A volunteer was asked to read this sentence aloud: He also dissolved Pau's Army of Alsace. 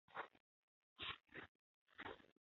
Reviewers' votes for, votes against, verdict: 0, 2, rejected